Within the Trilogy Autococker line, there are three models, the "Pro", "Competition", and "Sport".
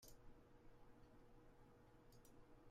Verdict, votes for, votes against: rejected, 0, 2